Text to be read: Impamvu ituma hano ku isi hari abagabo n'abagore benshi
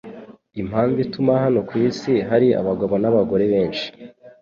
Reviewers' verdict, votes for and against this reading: accepted, 2, 0